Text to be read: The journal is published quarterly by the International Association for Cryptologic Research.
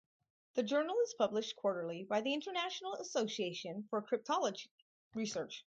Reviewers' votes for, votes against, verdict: 4, 0, accepted